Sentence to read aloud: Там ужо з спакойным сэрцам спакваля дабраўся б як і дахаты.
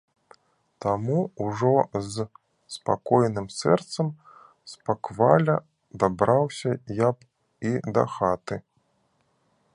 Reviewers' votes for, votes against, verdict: 0, 2, rejected